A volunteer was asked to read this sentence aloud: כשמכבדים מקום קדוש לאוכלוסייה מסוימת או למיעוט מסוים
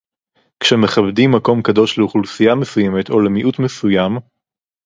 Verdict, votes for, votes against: rejected, 2, 2